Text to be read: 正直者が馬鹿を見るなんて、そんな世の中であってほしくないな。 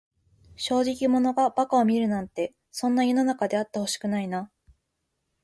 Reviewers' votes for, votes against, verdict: 2, 0, accepted